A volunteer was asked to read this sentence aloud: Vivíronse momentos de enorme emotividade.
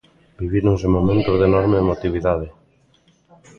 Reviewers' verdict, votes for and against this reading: rejected, 0, 2